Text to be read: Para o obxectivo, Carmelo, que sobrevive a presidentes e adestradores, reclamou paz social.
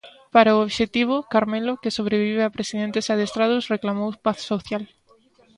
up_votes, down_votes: 0, 2